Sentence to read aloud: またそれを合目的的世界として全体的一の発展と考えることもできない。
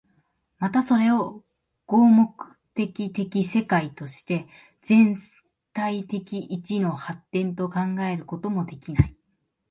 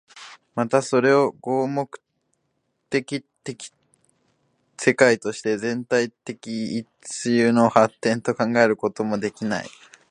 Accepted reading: first